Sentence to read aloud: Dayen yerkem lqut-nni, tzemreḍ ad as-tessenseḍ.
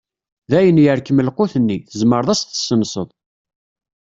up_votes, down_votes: 2, 0